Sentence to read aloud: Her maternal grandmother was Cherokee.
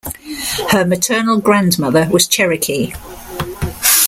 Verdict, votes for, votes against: accepted, 2, 0